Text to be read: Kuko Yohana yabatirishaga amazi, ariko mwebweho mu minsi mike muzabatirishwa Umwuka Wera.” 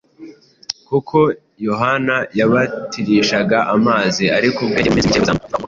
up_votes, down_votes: 1, 2